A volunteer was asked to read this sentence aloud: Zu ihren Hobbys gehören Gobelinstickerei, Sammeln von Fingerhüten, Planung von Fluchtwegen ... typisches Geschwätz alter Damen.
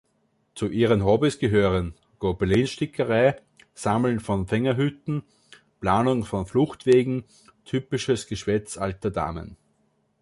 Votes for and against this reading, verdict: 2, 0, accepted